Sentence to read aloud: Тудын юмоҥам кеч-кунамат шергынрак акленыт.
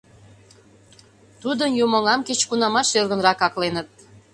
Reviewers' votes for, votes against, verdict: 2, 0, accepted